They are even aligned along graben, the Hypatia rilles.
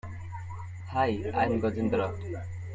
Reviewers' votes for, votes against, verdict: 0, 2, rejected